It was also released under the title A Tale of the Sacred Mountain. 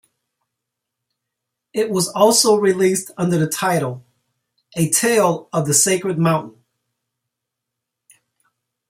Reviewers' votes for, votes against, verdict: 0, 2, rejected